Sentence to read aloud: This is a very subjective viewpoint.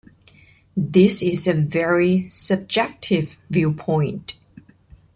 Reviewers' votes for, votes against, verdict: 2, 1, accepted